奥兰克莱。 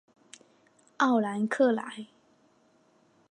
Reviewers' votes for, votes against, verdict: 2, 0, accepted